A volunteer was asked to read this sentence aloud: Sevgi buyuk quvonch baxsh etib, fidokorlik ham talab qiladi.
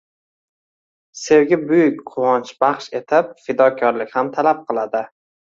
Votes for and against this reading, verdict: 2, 0, accepted